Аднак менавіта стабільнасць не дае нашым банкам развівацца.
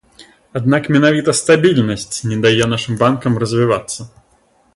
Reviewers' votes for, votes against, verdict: 2, 0, accepted